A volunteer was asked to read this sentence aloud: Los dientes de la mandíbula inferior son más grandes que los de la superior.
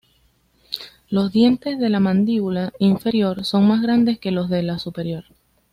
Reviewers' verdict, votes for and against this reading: accepted, 2, 0